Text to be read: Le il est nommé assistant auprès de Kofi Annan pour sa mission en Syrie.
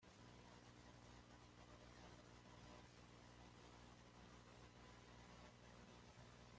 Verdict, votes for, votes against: rejected, 1, 2